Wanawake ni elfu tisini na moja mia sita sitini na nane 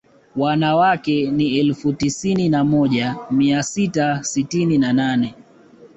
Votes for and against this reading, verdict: 2, 0, accepted